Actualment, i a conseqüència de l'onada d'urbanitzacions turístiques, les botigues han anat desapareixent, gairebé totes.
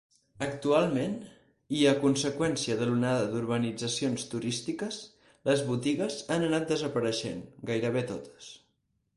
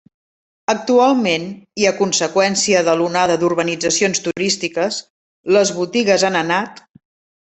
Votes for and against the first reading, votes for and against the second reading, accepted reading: 4, 0, 0, 2, first